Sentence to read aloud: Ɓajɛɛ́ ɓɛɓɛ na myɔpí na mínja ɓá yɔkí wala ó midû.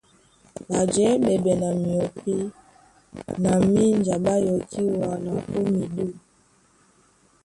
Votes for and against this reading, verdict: 1, 2, rejected